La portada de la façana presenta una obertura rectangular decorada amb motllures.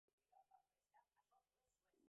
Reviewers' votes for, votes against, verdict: 0, 4, rejected